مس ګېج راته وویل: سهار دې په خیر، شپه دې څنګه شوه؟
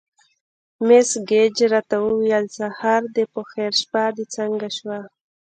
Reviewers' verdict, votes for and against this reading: accepted, 2, 1